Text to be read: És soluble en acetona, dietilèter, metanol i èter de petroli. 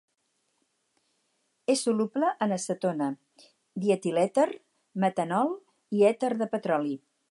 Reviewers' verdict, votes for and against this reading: accepted, 4, 0